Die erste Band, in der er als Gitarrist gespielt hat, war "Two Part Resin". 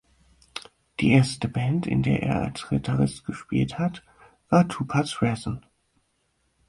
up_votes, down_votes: 0, 6